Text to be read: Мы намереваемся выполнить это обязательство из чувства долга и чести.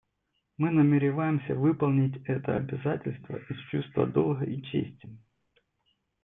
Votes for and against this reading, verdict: 0, 2, rejected